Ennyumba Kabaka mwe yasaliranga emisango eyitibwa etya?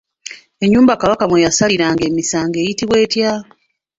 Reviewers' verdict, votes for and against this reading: accepted, 2, 0